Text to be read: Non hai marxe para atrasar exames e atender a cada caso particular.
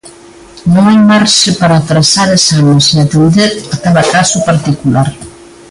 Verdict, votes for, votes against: accepted, 2, 1